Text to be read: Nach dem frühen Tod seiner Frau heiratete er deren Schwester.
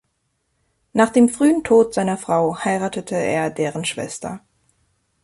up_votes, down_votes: 2, 0